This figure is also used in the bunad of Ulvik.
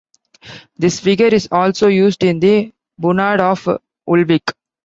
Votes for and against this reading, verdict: 2, 1, accepted